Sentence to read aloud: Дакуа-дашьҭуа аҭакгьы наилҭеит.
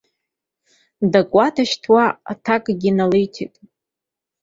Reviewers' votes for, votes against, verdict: 3, 1, accepted